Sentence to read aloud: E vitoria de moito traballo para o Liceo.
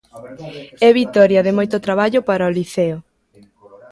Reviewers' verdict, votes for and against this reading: rejected, 1, 2